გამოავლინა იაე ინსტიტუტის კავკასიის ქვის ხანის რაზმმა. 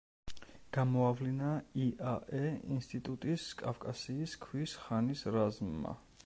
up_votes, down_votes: 1, 2